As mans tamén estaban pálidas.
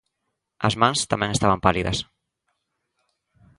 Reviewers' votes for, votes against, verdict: 2, 0, accepted